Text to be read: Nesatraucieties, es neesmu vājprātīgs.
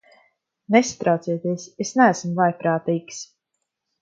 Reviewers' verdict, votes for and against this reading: accepted, 2, 0